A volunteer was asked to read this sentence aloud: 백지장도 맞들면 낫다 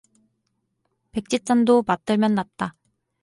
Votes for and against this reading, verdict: 2, 0, accepted